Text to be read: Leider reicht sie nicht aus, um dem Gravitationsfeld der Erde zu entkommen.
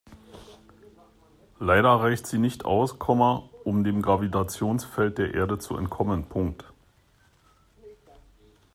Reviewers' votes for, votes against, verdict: 0, 2, rejected